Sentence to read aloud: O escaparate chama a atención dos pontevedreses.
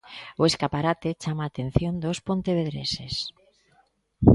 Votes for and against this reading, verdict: 2, 0, accepted